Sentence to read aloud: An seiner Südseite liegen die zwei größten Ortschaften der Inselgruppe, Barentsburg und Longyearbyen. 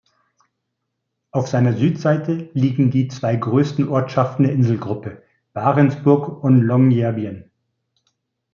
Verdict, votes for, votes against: rejected, 0, 2